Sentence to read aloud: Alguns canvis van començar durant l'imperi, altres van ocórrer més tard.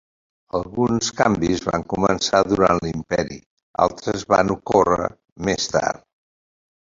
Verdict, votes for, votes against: accepted, 3, 1